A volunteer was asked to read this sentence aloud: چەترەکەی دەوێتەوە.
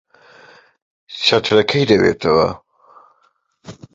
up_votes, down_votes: 2, 1